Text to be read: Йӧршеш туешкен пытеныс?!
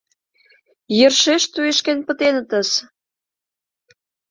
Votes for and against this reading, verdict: 0, 2, rejected